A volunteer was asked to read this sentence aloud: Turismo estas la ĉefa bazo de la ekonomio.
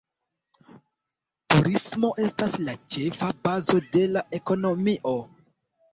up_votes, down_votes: 2, 0